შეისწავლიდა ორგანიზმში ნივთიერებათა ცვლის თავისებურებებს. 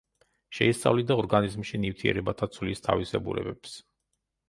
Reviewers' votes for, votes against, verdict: 2, 0, accepted